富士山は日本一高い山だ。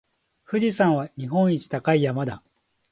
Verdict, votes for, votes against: accepted, 6, 0